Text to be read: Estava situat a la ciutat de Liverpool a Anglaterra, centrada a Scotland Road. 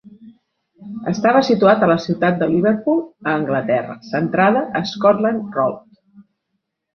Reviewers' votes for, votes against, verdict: 3, 0, accepted